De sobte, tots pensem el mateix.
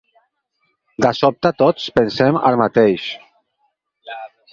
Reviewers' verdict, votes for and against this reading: accepted, 4, 2